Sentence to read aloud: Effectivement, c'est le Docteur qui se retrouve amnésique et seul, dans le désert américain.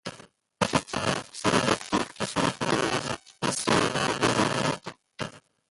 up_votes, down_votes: 0, 2